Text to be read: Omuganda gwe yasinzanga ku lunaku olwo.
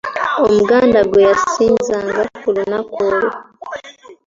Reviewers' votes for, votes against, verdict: 2, 1, accepted